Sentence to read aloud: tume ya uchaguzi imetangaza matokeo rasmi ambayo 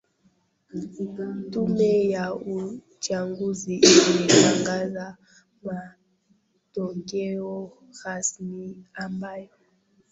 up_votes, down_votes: 0, 2